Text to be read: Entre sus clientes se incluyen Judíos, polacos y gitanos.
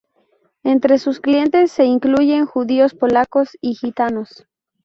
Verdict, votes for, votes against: accepted, 4, 0